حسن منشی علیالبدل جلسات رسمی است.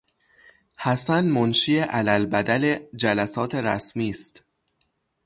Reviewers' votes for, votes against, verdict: 0, 3, rejected